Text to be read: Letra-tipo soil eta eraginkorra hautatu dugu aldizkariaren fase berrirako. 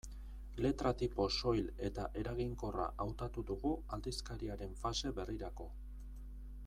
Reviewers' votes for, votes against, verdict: 2, 0, accepted